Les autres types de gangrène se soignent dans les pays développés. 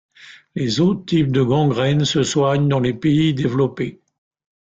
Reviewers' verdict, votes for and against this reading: rejected, 1, 2